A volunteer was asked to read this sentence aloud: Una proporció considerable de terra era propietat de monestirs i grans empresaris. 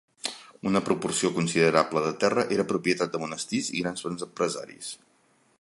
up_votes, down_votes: 1, 2